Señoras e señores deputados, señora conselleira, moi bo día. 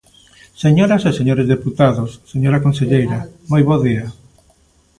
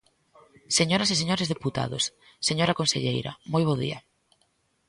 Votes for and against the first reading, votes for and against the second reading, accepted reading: 1, 2, 2, 0, second